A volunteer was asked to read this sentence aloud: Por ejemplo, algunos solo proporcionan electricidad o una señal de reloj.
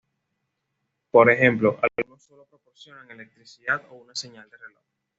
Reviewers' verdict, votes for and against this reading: rejected, 0, 2